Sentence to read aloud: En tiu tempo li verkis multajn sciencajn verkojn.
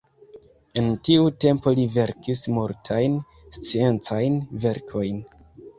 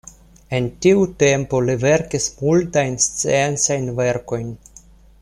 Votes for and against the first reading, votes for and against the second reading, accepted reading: 1, 2, 2, 0, second